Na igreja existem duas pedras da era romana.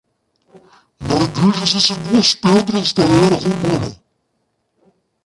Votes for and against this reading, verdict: 1, 2, rejected